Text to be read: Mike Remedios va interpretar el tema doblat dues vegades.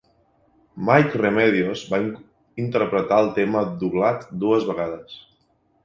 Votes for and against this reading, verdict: 0, 2, rejected